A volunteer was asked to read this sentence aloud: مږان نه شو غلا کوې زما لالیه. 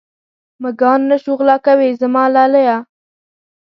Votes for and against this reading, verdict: 2, 0, accepted